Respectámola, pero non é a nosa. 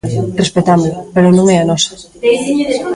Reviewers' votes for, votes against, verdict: 1, 2, rejected